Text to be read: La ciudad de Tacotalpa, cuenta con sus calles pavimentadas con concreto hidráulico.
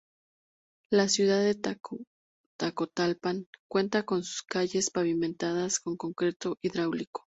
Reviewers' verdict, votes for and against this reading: rejected, 0, 2